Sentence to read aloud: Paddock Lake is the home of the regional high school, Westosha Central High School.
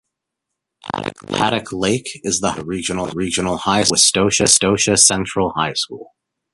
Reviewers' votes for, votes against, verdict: 0, 2, rejected